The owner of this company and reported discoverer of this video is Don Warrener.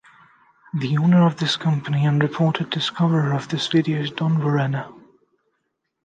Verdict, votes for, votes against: accepted, 2, 0